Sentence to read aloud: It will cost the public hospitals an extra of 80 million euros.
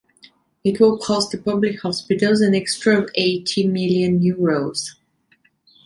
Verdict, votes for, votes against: rejected, 0, 2